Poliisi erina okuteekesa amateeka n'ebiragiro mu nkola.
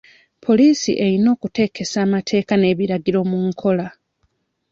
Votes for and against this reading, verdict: 1, 2, rejected